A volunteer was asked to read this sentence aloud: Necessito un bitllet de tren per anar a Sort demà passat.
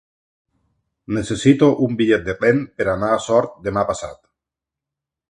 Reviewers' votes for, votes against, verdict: 2, 0, accepted